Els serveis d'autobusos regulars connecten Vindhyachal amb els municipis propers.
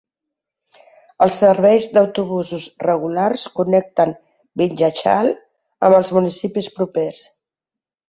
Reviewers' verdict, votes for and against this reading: accepted, 2, 0